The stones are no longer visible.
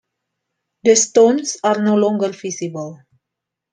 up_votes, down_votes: 2, 0